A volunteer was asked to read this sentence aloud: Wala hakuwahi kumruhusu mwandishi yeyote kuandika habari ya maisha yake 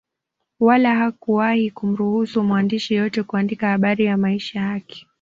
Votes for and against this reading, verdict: 2, 0, accepted